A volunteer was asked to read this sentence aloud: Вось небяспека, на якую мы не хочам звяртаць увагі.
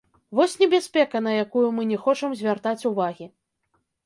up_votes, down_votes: 2, 1